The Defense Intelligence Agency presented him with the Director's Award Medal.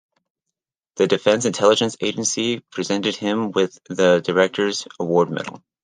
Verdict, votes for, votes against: accepted, 2, 0